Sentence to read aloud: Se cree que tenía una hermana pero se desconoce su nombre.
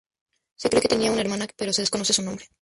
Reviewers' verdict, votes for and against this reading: rejected, 0, 4